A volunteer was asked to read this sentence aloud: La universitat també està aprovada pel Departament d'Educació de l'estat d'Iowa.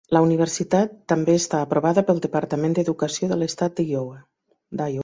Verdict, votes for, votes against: rejected, 1, 2